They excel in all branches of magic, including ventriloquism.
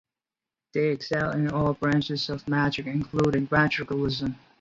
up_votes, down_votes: 2, 2